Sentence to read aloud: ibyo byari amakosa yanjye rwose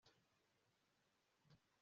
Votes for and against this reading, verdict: 1, 2, rejected